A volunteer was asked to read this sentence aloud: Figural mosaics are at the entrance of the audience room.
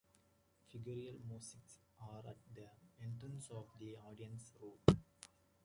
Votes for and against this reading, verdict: 0, 2, rejected